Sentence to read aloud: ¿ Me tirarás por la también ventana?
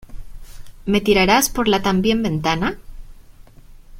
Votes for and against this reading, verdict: 2, 0, accepted